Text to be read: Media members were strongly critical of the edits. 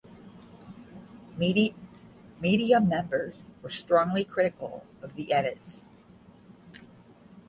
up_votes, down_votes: 0, 5